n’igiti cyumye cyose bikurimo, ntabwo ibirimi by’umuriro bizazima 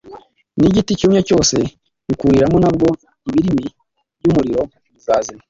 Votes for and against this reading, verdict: 1, 2, rejected